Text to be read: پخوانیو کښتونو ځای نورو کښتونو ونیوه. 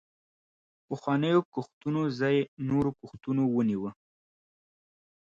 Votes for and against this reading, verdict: 2, 0, accepted